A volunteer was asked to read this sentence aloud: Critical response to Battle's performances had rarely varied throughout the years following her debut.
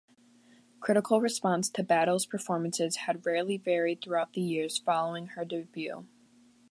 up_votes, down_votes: 0, 2